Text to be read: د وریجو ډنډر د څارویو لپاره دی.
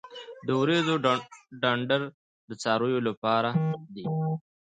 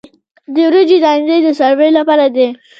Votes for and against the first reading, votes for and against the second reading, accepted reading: 2, 0, 0, 2, first